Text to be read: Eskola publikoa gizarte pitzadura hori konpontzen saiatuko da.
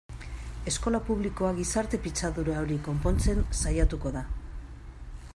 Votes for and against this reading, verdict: 2, 0, accepted